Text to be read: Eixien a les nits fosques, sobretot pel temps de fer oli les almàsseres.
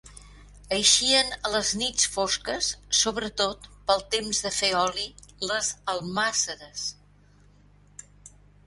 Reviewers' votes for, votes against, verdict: 2, 0, accepted